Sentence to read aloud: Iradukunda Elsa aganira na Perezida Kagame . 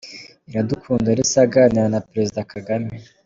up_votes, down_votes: 2, 0